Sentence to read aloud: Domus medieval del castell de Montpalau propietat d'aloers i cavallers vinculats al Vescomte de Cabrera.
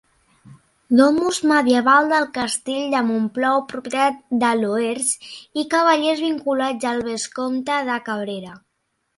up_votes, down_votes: 0, 2